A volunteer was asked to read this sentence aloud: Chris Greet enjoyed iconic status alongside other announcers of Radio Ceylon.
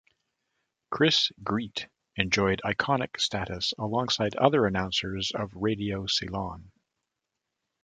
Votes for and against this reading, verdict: 2, 0, accepted